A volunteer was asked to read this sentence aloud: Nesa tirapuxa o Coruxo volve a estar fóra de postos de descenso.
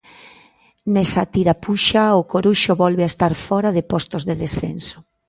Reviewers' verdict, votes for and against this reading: accepted, 2, 0